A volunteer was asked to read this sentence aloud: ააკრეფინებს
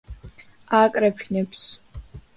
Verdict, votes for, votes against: accepted, 2, 0